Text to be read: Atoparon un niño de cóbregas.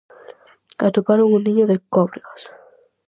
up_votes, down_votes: 4, 0